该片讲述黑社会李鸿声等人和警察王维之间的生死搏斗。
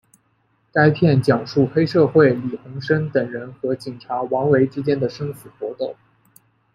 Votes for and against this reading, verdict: 1, 2, rejected